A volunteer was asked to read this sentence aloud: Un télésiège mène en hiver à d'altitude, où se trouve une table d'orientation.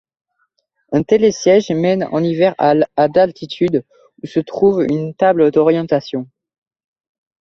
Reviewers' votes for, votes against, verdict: 2, 0, accepted